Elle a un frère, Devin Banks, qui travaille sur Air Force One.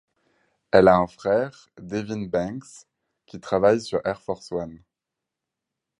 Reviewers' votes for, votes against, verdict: 4, 0, accepted